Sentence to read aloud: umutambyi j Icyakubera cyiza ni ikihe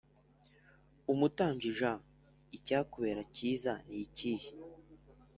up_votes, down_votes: 4, 0